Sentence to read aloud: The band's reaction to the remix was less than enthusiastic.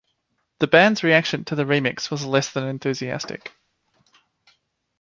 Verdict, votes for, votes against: accepted, 2, 0